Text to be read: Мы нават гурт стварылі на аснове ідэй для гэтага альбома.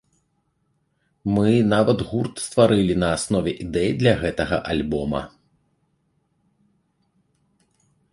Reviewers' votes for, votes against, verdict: 2, 0, accepted